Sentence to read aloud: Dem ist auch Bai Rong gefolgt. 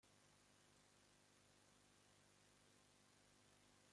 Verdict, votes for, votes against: rejected, 0, 2